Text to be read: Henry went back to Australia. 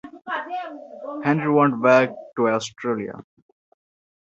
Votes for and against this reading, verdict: 2, 1, accepted